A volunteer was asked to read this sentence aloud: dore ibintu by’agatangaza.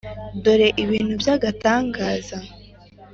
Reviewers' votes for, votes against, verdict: 2, 0, accepted